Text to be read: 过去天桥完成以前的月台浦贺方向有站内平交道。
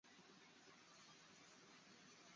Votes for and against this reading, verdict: 1, 2, rejected